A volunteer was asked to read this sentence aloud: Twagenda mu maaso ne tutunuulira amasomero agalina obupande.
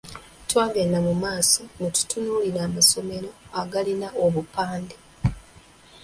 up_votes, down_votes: 2, 1